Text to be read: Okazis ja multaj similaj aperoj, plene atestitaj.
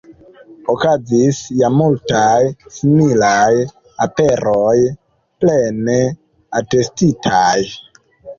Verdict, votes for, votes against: rejected, 1, 2